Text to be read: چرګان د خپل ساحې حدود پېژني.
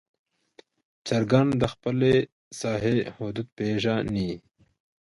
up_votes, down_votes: 1, 2